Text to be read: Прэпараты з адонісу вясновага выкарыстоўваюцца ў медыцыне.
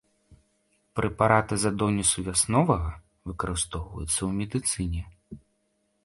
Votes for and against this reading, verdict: 2, 0, accepted